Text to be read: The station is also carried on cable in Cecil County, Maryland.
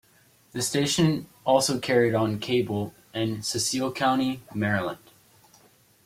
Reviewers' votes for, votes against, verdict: 1, 2, rejected